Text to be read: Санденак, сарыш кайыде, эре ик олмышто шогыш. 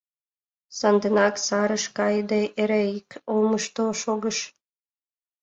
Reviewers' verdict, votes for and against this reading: accepted, 2, 1